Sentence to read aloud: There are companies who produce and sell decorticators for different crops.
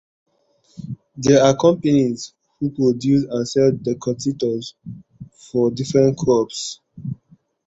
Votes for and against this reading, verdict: 1, 2, rejected